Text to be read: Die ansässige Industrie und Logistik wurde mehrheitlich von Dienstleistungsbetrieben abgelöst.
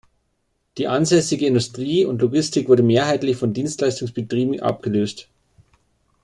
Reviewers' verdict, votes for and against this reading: accepted, 2, 0